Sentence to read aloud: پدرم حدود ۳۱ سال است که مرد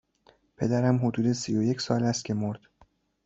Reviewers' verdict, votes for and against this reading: rejected, 0, 2